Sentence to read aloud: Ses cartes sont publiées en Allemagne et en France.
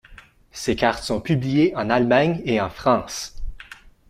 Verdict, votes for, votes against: accepted, 2, 0